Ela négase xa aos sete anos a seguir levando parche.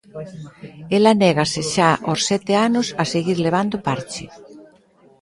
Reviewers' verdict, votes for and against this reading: rejected, 1, 2